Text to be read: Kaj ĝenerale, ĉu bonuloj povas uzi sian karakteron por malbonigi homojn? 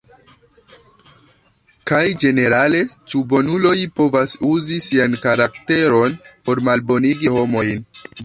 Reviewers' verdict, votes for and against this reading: accepted, 2, 1